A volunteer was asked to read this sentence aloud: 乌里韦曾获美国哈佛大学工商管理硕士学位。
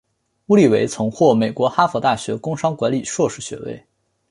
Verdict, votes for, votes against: accepted, 2, 0